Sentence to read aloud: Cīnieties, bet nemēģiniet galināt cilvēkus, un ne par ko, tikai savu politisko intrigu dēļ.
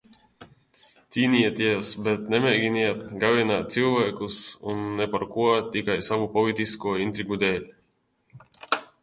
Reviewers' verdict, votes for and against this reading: accepted, 2, 0